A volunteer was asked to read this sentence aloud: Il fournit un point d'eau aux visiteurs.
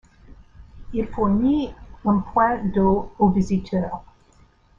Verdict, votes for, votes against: rejected, 1, 2